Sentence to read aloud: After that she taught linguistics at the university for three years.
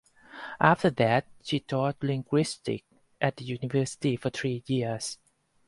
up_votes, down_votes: 2, 2